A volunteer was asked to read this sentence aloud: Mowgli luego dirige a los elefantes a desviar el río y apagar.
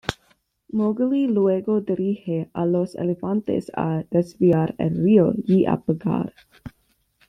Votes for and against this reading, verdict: 2, 1, accepted